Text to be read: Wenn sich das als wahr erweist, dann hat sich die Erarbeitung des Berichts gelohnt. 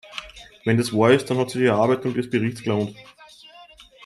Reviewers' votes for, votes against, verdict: 0, 2, rejected